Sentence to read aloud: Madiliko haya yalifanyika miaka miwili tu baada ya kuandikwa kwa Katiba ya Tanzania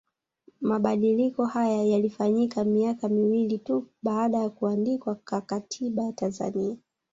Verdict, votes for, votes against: rejected, 1, 2